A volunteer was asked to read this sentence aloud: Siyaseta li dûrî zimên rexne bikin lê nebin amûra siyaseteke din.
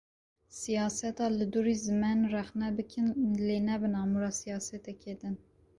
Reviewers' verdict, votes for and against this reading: rejected, 1, 2